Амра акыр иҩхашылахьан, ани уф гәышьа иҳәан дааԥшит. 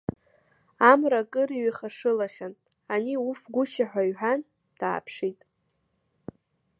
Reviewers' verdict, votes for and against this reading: accepted, 2, 0